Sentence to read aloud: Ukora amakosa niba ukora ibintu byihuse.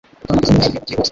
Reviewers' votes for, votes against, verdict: 1, 2, rejected